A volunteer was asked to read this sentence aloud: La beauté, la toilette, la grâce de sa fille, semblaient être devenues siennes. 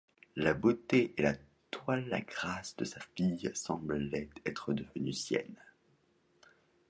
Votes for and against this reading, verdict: 0, 2, rejected